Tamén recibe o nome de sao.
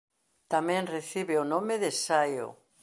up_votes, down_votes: 0, 2